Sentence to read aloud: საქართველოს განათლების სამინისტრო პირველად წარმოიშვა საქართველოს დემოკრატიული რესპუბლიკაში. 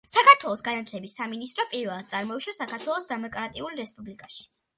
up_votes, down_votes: 2, 1